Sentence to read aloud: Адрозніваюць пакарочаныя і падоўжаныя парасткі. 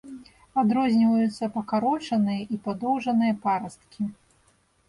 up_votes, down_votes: 1, 2